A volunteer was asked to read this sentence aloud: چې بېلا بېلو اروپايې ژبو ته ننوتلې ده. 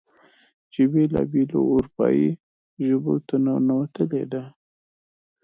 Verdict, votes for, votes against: accepted, 2, 0